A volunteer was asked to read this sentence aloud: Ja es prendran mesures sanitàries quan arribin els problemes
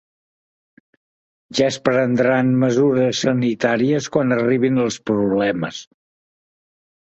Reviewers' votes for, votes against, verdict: 3, 0, accepted